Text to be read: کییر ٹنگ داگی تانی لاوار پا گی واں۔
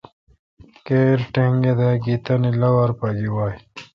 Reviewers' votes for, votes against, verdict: 2, 0, accepted